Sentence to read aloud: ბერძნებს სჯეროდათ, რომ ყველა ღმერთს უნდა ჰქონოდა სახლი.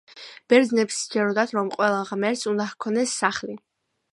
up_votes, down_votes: 2, 1